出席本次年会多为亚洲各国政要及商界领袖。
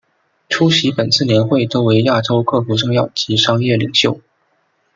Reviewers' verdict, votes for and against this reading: rejected, 0, 2